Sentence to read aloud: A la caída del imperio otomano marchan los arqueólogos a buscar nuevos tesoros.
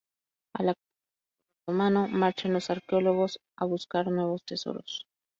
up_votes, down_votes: 0, 2